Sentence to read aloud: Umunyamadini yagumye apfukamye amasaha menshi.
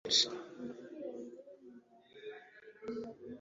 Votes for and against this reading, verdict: 0, 2, rejected